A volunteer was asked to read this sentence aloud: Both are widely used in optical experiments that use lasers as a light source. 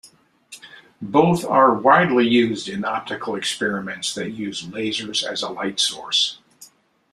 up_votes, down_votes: 2, 0